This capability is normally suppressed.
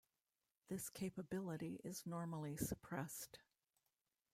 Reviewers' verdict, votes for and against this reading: rejected, 1, 2